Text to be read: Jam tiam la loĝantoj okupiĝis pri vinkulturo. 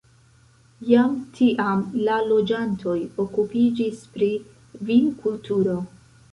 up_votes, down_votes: 2, 1